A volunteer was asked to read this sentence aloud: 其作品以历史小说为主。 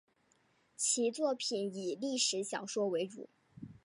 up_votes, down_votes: 2, 0